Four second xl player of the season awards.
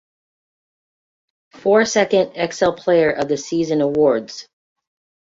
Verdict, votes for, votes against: accepted, 2, 0